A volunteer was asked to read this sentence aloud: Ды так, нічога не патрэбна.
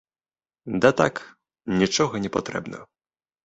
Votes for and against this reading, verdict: 0, 2, rejected